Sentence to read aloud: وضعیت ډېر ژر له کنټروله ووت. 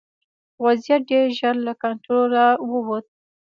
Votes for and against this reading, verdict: 0, 2, rejected